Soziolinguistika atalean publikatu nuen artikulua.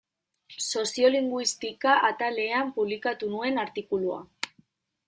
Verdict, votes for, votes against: accepted, 2, 0